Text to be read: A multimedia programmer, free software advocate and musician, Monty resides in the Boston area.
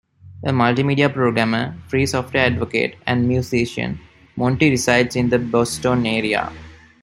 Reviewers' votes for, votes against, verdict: 2, 0, accepted